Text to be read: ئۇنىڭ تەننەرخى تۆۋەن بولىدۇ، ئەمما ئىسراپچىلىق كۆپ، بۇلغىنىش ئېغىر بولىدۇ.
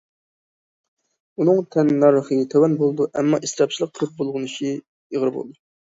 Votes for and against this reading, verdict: 0, 2, rejected